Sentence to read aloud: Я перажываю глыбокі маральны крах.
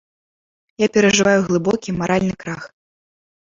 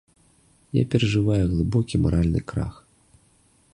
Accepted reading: second